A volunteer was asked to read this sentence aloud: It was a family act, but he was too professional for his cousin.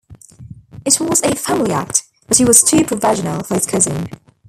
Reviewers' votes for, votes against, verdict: 0, 2, rejected